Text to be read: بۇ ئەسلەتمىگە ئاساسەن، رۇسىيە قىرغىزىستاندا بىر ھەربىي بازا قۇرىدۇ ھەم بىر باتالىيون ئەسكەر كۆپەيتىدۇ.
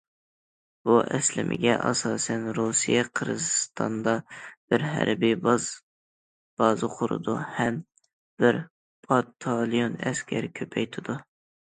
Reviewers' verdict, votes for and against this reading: rejected, 0, 2